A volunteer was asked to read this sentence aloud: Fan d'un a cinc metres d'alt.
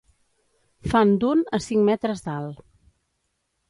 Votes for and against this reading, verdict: 1, 2, rejected